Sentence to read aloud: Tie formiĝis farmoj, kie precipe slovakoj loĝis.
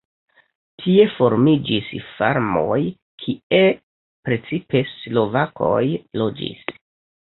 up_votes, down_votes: 0, 2